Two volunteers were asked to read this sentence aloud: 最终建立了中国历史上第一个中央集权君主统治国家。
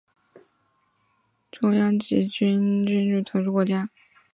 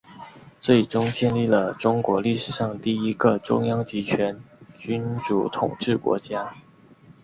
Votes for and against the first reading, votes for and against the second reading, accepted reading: 3, 4, 2, 0, second